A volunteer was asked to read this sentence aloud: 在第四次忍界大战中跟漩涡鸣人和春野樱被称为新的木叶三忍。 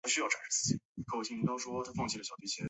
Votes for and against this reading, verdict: 2, 4, rejected